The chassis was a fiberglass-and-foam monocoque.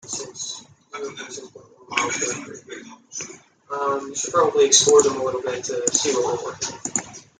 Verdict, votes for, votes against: rejected, 0, 2